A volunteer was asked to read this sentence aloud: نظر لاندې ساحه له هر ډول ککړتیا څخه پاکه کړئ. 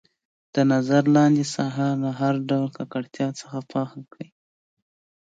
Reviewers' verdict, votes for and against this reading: accepted, 2, 0